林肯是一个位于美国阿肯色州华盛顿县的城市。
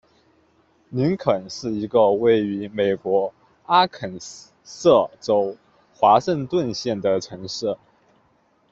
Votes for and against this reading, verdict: 2, 1, accepted